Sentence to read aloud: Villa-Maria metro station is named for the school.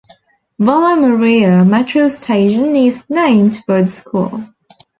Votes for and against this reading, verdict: 0, 2, rejected